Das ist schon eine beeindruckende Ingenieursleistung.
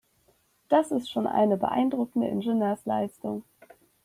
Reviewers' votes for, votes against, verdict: 1, 2, rejected